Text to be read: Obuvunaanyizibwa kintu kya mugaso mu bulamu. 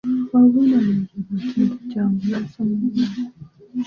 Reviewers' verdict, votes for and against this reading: rejected, 0, 2